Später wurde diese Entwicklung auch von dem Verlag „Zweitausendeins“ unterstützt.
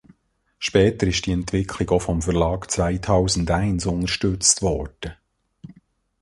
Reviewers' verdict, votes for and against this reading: rejected, 0, 2